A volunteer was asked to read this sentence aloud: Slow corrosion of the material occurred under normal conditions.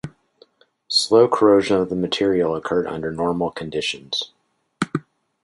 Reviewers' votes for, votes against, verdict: 2, 0, accepted